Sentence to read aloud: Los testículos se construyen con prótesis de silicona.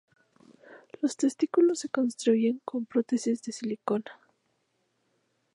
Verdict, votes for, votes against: accepted, 2, 0